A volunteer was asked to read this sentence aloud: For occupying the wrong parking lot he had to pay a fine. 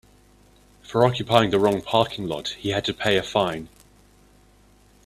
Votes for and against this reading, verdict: 2, 0, accepted